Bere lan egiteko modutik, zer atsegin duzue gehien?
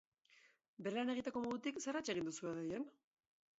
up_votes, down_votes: 0, 2